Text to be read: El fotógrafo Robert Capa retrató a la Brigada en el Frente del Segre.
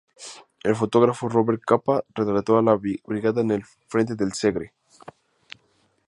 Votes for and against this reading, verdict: 0, 2, rejected